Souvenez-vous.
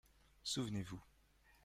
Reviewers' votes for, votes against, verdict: 2, 0, accepted